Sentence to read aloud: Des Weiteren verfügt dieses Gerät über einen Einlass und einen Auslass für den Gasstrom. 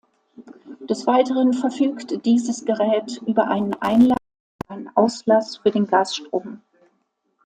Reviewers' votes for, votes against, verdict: 0, 2, rejected